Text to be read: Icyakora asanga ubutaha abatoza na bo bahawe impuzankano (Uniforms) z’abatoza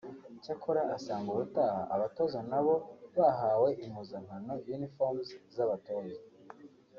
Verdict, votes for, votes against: accepted, 2, 0